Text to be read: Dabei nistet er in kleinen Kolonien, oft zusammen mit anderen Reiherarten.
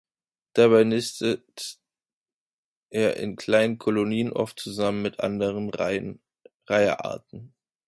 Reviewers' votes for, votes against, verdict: 0, 2, rejected